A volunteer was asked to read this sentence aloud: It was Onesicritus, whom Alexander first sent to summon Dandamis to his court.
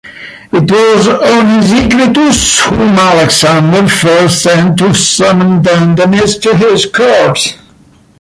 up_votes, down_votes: 0, 2